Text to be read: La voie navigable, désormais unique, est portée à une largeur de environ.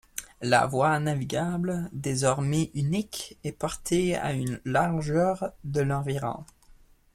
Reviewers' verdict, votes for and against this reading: accepted, 2, 1